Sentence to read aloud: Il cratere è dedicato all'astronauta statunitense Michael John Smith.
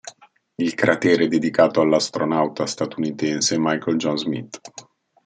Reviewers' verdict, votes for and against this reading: accepted, 2, 0